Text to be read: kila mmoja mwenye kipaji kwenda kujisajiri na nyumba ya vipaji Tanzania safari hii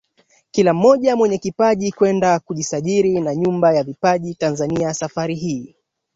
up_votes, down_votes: 2, 1